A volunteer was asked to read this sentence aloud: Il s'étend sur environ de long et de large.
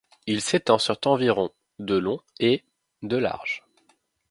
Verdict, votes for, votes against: rejected, 0, 2